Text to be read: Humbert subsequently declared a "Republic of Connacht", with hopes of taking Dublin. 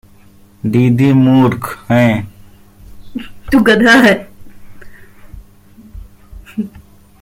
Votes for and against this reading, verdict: 0, 2, rejected